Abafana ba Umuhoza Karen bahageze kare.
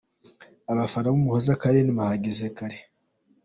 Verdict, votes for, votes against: accepted, 2, 0